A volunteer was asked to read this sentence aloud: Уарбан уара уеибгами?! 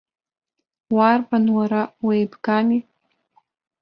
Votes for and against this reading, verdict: 1, 2, rejected